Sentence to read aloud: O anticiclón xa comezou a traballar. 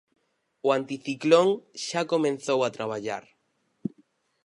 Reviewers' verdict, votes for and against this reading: rejected, 2, 4